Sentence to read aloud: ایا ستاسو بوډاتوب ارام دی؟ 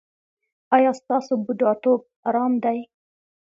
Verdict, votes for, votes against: accepted, 2, 0